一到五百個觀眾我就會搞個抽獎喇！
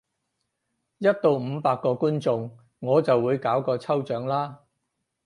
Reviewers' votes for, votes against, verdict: 0, 4, rejected